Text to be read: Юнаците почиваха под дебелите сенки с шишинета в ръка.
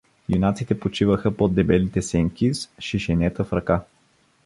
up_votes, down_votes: 1, 2